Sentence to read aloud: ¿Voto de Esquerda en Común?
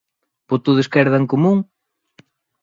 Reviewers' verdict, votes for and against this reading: rejected, 1, 2